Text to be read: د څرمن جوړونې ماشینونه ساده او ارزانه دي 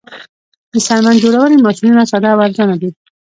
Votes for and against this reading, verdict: 2, 0, accepted